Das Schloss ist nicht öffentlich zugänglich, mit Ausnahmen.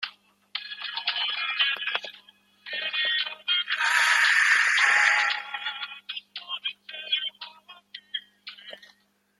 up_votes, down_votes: 0, 2